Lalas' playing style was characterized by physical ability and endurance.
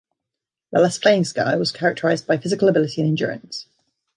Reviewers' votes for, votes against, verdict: 2, 0, accepted